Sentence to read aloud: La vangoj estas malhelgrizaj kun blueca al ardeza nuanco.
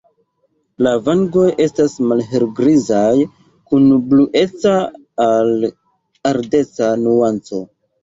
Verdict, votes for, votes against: accepted, 2, 1